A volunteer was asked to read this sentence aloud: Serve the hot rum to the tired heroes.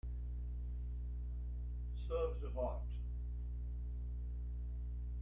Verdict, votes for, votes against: rejected, 0, 2